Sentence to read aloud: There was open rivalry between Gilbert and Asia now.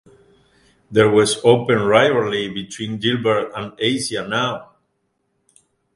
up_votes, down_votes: 2, 0